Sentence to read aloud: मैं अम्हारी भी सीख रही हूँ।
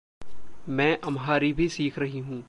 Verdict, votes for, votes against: rejected, 1, 2